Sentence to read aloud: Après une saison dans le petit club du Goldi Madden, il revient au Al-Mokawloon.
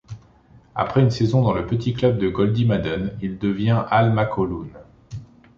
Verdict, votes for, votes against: rejected, 0, 2